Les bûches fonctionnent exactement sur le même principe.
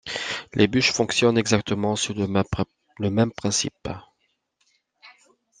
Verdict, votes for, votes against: rejected, 0, 2